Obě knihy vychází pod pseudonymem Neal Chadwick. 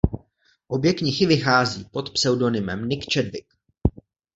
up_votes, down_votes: 0, 2